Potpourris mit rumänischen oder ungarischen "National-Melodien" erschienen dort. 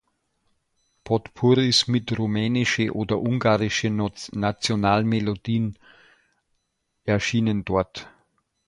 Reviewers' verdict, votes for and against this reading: rejected, 0, 2